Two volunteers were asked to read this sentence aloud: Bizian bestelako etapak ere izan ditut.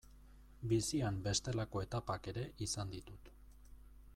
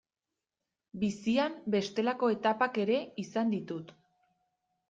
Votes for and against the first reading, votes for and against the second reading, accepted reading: 1, 2, 2, 1, second